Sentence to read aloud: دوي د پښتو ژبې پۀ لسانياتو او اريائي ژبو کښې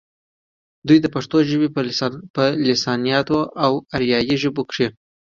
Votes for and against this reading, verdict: 2, 0, accepted